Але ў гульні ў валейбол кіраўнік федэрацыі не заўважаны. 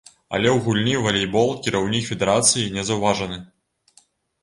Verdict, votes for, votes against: rejected, 1, 2